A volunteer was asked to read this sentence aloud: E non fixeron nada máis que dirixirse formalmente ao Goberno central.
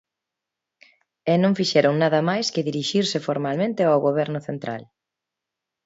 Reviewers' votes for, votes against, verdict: 2, 0, accepted